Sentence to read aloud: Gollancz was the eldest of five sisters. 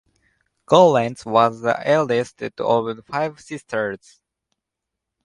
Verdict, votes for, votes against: accepted, 2, 0